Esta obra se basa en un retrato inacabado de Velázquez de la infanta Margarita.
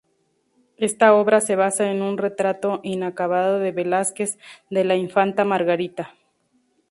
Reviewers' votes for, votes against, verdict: 2, 0, accepted